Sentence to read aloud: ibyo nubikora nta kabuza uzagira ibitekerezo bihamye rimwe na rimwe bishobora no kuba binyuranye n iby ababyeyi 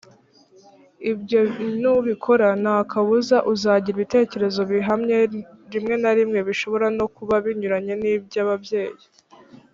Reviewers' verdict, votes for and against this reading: accepted, 2, 0